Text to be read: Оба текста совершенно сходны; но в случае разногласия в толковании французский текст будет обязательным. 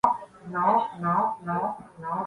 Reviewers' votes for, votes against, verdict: 0, 2, rejected